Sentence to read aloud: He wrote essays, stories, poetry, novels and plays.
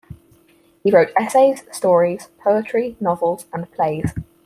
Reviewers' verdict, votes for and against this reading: accepted, 4, 0